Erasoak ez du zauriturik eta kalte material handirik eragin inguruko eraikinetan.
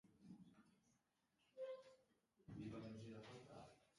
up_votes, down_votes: 0, 2